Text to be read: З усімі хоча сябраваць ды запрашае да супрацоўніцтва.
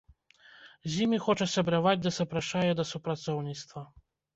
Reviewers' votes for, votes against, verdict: 0, 2, rejected